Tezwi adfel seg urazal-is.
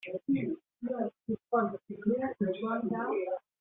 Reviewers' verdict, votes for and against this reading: rejected, 0, 2